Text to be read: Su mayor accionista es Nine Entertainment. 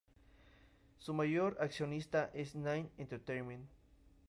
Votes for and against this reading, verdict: 2, 0, accepted